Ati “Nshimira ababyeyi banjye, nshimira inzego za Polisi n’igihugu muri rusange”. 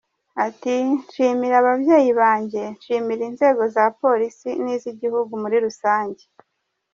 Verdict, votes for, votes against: rejected, 1, 2